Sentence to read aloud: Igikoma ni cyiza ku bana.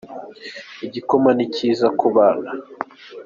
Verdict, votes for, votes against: accepted, 4, 0